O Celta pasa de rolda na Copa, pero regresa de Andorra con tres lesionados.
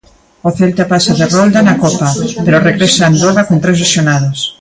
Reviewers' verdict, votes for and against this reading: rejected, 0, 2